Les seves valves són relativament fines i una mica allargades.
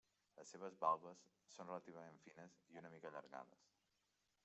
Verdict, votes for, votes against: rejected, 0, 2